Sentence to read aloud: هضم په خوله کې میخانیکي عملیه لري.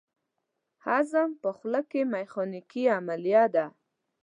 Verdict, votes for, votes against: rejected, 0, 2